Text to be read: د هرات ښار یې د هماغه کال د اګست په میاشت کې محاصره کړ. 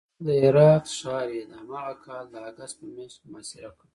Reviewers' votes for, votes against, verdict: 2, 0, accepted